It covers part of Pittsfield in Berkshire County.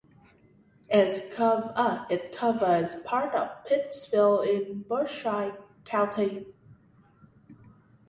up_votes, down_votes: 0, 2